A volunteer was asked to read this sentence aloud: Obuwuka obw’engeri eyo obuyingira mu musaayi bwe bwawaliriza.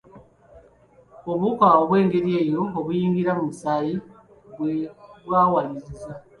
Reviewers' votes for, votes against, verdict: 3, 2, accepted